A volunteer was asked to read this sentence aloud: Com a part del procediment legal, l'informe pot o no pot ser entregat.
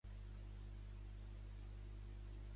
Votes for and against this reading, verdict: 1, 2, rejected